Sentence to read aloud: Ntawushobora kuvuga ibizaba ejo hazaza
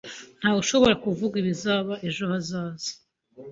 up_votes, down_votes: 2, 0